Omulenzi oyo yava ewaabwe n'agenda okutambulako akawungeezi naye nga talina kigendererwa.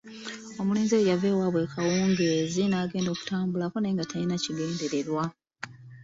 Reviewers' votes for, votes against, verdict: 2, 1, accepted